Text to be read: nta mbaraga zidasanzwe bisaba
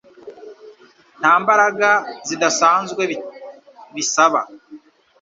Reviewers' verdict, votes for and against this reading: accepted, 2, 1